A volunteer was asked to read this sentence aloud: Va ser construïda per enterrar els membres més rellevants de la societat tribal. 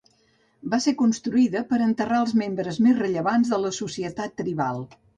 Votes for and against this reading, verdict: 3, 0, accepted